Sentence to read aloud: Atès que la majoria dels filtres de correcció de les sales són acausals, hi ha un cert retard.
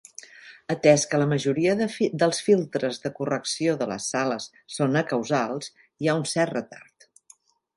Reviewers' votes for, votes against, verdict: 1, 2, rejected